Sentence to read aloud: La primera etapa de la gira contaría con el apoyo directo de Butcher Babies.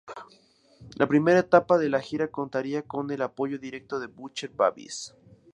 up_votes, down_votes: 2, 0